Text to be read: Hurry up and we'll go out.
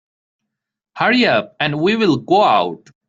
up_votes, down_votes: 0, 2